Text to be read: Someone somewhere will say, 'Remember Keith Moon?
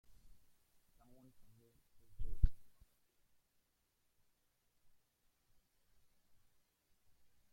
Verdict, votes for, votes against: rejected, 0, 2